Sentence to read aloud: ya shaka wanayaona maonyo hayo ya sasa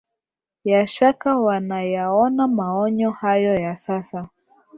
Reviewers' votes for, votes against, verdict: 2, 0, accepted